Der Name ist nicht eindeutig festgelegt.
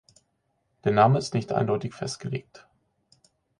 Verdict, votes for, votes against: accepted, 4, 0